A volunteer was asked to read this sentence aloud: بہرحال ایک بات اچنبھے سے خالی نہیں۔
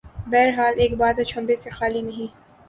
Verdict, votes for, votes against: accepted, 3, 0